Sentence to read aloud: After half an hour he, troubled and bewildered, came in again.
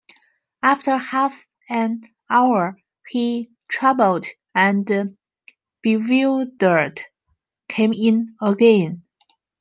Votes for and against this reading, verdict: 1, 2, rejected